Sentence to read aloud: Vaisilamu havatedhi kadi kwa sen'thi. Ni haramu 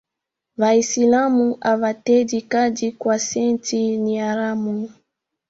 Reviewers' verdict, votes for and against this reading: accepted, 2, 0